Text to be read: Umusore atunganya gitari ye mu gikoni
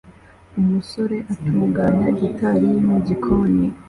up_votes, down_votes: 2, 0